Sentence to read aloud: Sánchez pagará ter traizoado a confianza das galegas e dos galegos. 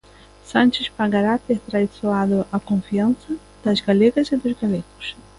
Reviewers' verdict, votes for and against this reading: accepted, 2, 0